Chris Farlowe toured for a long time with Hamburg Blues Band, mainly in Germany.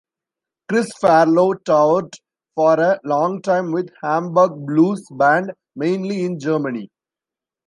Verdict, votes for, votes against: rejected, 0, 2